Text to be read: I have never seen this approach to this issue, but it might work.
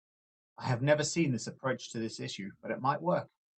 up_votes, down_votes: 2, 0